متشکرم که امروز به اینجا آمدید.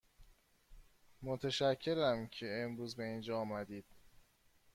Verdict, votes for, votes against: accepted, 2, 0